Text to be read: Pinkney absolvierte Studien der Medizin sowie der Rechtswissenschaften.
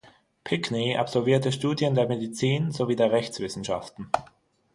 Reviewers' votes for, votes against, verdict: 3, 6, rejected